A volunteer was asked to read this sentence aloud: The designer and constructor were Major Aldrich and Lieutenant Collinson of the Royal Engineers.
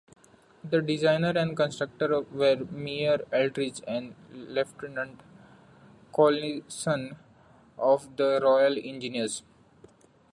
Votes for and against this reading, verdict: 0, 2, rejected